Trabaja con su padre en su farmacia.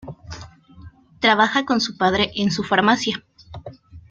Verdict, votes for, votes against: rejected, 0, 2